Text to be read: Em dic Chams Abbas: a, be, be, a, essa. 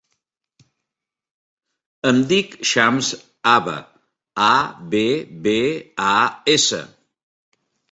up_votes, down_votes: 1, 2